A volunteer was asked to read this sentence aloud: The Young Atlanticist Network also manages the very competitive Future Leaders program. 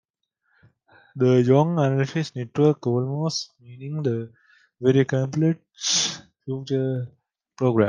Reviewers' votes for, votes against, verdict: 1, 2, rejected